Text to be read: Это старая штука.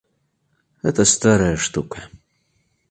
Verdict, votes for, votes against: accepted, 2, 1